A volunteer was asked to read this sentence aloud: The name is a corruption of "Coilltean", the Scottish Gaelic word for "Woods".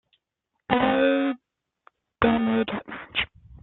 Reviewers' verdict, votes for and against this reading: rejected, 0, 2